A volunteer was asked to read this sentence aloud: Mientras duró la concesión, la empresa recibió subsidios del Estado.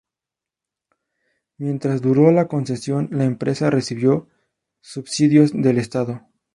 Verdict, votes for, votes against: accepted, 2, 0